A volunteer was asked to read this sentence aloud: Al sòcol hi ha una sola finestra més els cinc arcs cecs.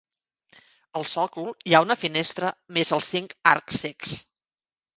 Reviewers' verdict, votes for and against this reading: rejected, 1, 2